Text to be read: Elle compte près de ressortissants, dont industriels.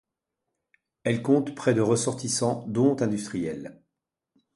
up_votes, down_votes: 2, 0